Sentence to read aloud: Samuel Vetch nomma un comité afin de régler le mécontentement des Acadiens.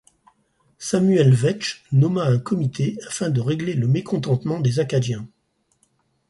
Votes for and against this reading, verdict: 6, 0, accepted